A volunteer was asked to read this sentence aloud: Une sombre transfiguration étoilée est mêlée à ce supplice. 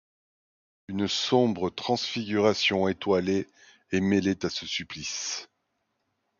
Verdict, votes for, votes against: rejected, 0, 2